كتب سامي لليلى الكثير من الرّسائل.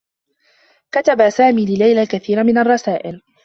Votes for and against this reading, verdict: 3, 1, accepted